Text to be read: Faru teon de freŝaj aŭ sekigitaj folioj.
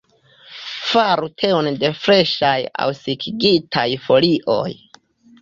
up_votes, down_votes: 2, 0